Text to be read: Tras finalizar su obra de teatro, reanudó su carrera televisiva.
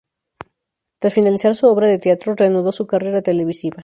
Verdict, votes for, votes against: accepted, 2, 0